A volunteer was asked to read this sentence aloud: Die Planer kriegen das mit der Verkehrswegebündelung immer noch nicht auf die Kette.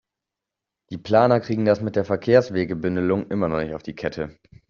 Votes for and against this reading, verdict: 2, 1, accepted